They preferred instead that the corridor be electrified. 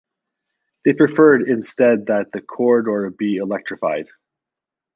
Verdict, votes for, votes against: accepted, 3, 0